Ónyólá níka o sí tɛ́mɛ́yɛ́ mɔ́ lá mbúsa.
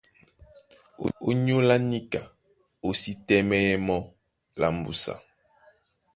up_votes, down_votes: 2, 0